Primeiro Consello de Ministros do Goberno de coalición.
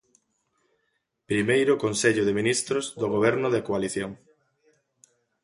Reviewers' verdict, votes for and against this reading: accepted, 2, 1